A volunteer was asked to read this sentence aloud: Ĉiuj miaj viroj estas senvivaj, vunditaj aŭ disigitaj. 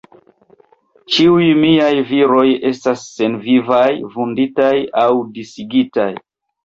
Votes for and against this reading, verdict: 2, 0, accepted